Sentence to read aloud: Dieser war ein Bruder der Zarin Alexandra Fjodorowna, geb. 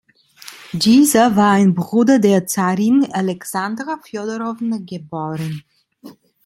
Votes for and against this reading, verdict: 0, 2, rejected